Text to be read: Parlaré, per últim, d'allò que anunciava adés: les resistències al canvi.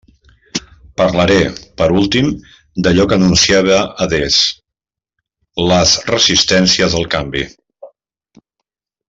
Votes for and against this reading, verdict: 0, 2, rejected